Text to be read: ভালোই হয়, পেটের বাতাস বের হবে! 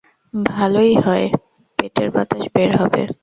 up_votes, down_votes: 2, 0